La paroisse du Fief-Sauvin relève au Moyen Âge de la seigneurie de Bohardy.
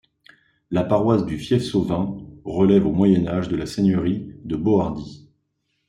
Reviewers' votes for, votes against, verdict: 2, 0, accepted